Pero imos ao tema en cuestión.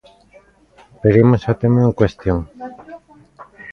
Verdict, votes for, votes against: rejected, 1, 2